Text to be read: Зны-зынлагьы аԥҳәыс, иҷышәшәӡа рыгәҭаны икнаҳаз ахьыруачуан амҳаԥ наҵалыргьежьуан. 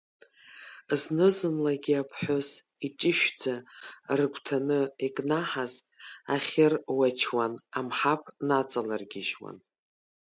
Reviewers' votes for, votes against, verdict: 2, 0, accepted